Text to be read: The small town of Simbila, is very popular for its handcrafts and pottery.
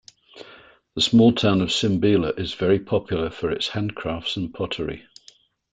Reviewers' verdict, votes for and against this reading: accepted, 2, 0